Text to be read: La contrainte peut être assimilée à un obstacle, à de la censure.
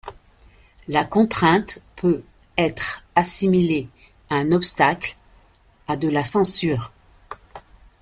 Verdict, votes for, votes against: accepted, 2, 0